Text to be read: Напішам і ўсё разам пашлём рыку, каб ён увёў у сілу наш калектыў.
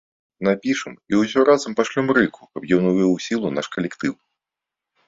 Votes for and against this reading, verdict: 2, 0, accepted